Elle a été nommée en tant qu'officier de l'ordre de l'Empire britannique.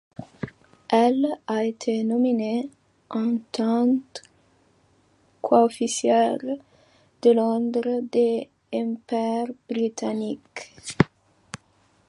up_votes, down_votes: 1, 2